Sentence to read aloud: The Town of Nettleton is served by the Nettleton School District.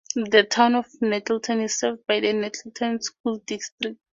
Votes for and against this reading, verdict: 4, 0, accepted